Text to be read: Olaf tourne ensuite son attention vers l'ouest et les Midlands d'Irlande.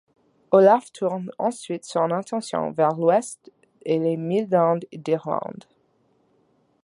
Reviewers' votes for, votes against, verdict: 2, 0, accepted